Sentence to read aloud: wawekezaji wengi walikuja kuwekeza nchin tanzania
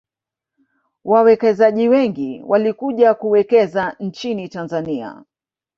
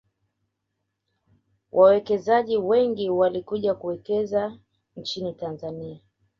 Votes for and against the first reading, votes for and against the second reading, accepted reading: 1, 2, 2, 0, second